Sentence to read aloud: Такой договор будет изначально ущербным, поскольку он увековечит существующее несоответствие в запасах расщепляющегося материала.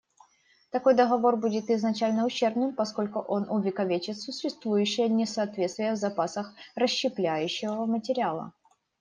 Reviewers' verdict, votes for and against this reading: rejected, 0, 2